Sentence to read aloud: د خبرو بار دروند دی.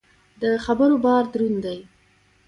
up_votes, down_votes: 1, 2